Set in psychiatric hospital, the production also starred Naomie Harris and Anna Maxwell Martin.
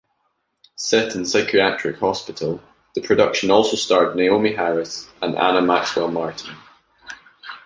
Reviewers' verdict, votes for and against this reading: accepted, 2, 0